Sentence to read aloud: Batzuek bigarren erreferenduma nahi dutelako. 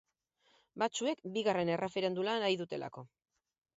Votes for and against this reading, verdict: 0, 2, rejected